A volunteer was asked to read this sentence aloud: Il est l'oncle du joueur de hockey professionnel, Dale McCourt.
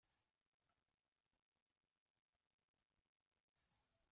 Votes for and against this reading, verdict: 0, 2, rejected